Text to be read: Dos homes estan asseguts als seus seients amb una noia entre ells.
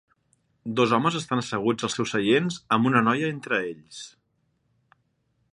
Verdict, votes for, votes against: accepted, 3, 0